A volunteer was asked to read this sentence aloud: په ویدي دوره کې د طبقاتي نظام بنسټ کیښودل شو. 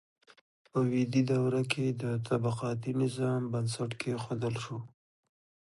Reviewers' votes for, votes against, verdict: 2, 1, accepted